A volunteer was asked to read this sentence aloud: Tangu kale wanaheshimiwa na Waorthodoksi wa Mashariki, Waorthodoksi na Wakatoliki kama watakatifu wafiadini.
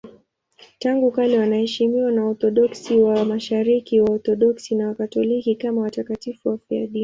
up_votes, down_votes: 2, 0